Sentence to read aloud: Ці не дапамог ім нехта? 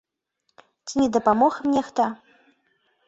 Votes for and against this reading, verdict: 2, 3, rejected